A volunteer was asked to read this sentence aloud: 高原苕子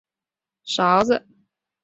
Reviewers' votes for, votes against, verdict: 4, 5, rejected